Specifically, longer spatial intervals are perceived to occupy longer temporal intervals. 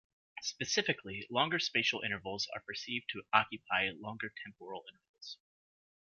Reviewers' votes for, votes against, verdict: 1, 2, rejected